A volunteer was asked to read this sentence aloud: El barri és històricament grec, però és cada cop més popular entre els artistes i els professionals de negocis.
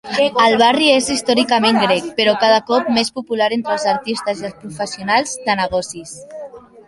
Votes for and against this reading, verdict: 0, 2, rejected